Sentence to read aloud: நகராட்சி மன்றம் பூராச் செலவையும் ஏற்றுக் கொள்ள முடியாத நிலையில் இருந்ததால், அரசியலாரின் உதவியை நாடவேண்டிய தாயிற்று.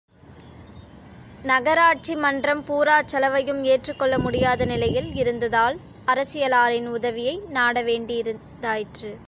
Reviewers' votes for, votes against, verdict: 1, 2, rejected